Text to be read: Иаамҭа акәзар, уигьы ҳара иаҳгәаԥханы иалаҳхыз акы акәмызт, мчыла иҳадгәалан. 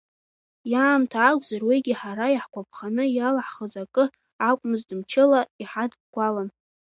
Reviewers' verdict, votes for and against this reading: accepted, 2, 0